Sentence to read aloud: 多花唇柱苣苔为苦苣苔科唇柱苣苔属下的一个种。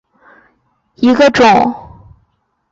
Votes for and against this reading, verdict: 0, 2, rejected